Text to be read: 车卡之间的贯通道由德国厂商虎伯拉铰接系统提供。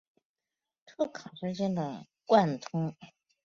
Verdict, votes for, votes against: rejected, 0, 2